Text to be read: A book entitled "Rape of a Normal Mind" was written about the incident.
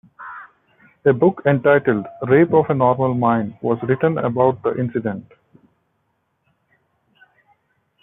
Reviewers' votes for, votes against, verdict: 2, 1, accepted